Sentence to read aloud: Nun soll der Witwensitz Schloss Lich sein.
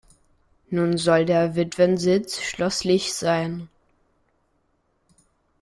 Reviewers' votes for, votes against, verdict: 1, 2, rejected